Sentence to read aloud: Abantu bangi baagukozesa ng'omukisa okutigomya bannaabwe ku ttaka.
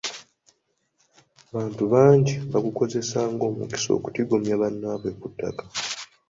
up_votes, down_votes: 2, 0